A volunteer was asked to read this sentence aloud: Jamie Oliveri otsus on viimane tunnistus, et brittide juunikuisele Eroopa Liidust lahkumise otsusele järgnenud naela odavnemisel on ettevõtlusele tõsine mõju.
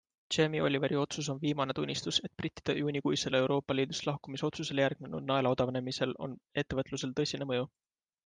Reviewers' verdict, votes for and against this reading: accepted, 2, 1